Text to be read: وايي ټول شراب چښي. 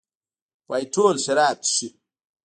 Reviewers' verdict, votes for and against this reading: rejected, 1, 2